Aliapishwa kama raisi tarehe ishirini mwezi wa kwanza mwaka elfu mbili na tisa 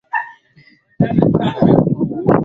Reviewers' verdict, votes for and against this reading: rejected, 0, 2